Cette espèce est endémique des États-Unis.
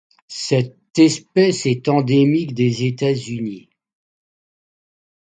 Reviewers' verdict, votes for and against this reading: accepted, 2, 0